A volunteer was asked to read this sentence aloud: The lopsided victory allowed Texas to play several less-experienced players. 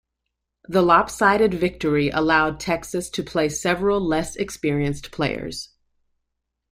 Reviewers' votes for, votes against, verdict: 2, 0, accepted